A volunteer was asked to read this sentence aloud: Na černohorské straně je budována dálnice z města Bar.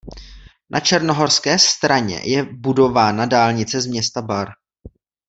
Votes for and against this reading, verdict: 2, 0, accepted